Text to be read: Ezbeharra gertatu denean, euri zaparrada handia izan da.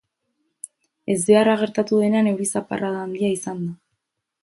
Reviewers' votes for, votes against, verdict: 2, 2, rejected